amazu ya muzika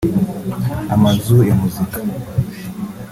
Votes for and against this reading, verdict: 2, 1, accepted